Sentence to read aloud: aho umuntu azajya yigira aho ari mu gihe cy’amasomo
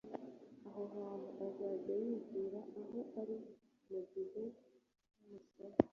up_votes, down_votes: 1, 2